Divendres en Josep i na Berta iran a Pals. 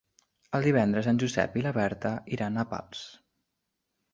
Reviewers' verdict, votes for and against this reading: rejected, 0, 2